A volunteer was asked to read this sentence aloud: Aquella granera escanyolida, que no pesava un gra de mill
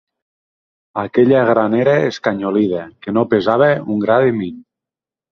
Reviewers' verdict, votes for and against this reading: accepted, 2, 0